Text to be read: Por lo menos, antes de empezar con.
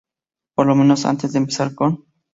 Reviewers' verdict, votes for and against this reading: accepted, 2, 0